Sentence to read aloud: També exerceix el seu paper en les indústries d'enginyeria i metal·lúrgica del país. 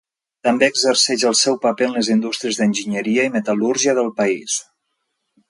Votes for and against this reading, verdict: 0, 2, rejected